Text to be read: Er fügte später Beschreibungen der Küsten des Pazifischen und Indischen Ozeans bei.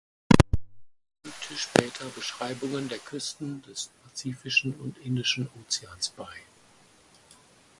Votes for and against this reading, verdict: 0, 4, rejected